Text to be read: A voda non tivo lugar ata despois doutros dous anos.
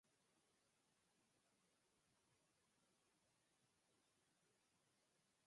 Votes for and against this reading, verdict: 0, 4, rejected